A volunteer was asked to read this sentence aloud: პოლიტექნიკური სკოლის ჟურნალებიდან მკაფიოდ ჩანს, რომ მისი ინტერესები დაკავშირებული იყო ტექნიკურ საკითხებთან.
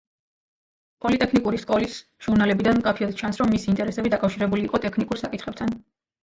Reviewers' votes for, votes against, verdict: 1, 2, rejected